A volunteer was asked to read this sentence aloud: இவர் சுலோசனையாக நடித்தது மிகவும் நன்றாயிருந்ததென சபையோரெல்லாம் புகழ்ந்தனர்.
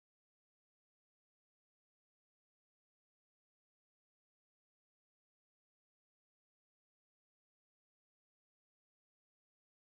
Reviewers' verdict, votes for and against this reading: rejected, 0, 3